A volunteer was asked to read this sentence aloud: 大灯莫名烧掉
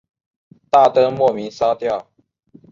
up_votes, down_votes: 2, 0